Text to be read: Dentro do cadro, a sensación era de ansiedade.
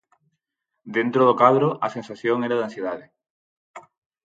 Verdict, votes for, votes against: accepted, 4, 0